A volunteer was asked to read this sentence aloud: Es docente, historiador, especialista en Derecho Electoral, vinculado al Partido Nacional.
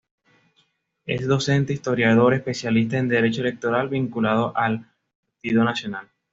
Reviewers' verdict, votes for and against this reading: rejected, 1, 2